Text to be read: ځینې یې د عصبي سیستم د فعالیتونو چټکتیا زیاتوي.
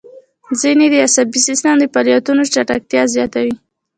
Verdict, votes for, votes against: accepted, 2, 0